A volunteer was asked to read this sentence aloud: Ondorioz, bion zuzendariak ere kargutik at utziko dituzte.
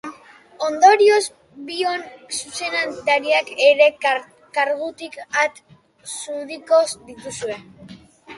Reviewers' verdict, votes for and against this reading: rejected, 1, 2